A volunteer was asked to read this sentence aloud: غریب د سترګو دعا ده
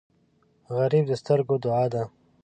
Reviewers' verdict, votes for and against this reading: accepted, 9, 0